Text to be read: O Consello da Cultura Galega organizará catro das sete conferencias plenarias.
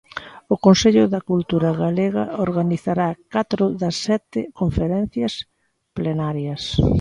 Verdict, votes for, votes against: accepted, 2, 0